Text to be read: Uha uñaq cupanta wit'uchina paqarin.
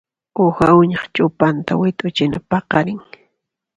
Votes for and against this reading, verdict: 1, 2, rejected